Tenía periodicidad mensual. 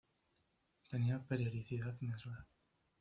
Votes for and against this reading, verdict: 1, 2, rejected